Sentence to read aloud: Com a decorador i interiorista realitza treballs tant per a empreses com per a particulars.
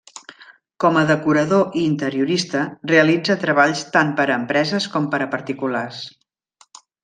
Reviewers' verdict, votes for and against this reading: accepted, 2, 0